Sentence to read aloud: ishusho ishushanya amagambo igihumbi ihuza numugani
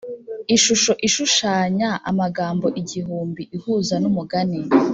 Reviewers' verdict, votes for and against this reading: accepted, 2, 0